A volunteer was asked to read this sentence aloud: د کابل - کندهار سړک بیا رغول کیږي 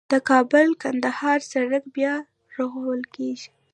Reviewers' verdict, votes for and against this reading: rejected, 0, 2